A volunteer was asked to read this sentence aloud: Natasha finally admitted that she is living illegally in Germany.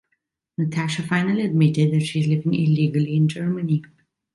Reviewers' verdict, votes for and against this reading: accepted, 2, 0